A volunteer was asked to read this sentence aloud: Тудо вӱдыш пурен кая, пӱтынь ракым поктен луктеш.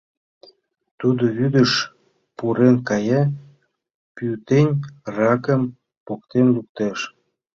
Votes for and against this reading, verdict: 0, 2, rejected